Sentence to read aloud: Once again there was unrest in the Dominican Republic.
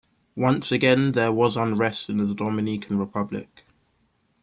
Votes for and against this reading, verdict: 2, 0, accepted